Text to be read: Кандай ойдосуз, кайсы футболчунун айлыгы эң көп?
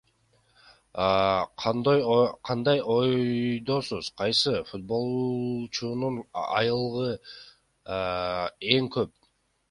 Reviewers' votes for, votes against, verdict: 1, 2, rejected